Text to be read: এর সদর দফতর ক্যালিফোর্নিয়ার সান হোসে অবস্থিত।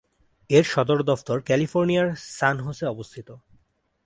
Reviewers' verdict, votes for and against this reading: accepted, 3, 0